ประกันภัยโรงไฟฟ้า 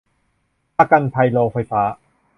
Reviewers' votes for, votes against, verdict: 2, 0, accepted